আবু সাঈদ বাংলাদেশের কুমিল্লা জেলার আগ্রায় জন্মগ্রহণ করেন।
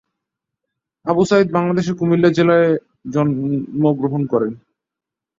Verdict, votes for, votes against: rejected, 2, 5